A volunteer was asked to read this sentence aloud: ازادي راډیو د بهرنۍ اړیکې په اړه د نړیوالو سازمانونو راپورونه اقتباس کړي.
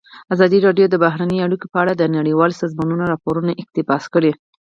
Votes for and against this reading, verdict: 4, 0, accepted